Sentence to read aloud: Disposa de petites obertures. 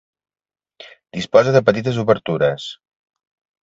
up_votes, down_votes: 2, 0